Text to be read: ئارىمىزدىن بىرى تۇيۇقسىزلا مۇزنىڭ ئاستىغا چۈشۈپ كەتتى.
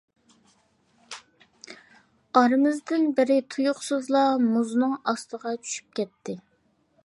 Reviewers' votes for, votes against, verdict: 2, 0, accepted